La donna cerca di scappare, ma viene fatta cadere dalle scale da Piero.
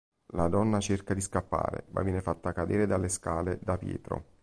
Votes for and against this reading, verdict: 1, 2, rejected